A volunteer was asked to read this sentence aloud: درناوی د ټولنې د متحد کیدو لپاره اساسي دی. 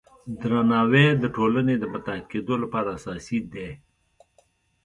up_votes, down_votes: 2, 0